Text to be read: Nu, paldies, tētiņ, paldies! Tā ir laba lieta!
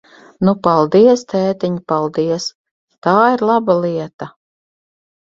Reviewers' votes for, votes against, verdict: 6, 0, accepted